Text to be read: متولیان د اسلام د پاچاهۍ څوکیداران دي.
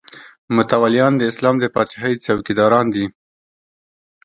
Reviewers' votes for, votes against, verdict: 2, 0, accepted